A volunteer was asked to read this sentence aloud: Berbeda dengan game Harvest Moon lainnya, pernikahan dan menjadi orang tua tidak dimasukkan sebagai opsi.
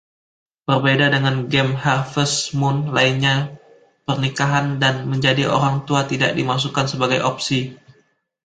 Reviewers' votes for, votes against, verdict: 2, 0, accepted